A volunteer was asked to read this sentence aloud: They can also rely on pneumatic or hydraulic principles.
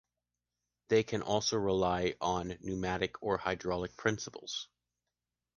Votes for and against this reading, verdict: 2, 0, accepted